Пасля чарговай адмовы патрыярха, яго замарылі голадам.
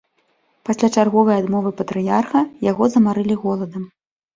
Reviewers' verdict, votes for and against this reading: accepted, 2, 0